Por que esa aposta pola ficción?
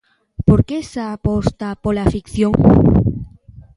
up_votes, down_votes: 2, 0